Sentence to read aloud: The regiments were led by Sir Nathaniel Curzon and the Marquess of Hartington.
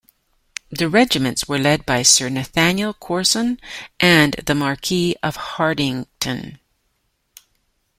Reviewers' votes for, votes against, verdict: 1, 2, rejected